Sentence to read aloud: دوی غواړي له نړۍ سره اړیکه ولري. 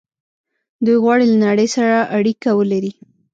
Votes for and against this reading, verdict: 1, 2, rejected